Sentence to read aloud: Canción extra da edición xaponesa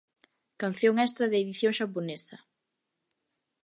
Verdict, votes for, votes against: accepted, 2, 0